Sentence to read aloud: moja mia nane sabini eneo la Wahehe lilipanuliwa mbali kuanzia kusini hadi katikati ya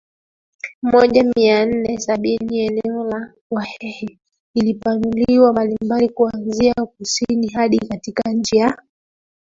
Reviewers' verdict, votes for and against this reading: rejected, 1, 2